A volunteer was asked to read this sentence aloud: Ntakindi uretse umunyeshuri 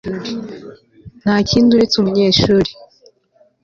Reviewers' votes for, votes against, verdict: 2, 0, accepted